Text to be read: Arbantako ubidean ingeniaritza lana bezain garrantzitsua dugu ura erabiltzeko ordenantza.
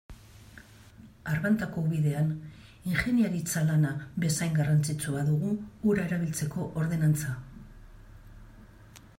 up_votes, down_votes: 2, 0